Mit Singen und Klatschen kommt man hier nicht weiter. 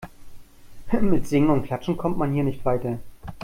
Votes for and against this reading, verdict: 2, 0, accepted